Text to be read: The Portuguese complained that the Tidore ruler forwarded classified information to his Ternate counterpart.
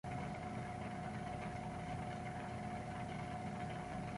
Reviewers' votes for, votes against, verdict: 0, 2, rejected